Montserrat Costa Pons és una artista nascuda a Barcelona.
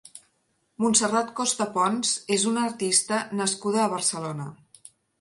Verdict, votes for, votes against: accepted, 3, 0